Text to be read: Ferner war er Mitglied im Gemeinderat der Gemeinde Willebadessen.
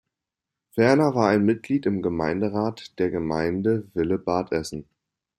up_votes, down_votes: 1, 2